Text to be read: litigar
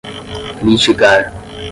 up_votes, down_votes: 0, 10